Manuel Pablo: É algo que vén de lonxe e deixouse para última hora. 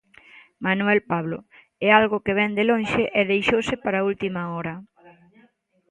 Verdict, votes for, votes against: rejected, 1, 2